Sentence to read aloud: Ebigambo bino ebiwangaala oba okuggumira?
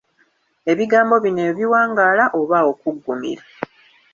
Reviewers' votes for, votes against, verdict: 1, 2, rejected